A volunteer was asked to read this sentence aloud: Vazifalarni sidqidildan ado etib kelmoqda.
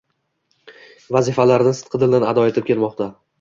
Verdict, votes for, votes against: accepted, 2, 0